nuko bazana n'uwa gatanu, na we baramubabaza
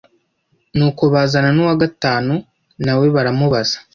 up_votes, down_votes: 1, 2